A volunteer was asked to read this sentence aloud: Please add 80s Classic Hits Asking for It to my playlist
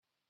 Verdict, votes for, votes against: rejected, 0, 2